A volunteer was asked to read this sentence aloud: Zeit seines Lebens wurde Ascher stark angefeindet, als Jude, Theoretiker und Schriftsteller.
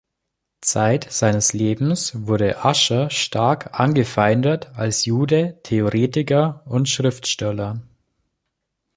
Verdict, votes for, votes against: accepted, 2, 0